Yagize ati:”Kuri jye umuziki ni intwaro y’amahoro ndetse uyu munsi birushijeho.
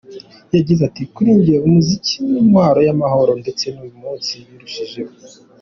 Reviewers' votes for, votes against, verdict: 2, 0, accepted